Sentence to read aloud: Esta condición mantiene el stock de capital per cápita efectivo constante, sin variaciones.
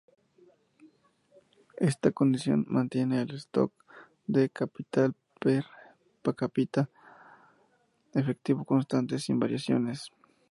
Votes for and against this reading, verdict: 4, 6, rejected